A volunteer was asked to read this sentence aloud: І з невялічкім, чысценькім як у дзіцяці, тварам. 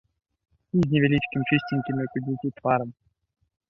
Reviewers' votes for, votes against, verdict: 1, 2, rejected